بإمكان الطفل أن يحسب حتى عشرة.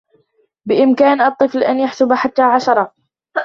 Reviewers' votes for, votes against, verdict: 1, 2, rejected